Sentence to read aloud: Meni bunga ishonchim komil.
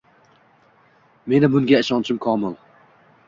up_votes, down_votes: 2, 0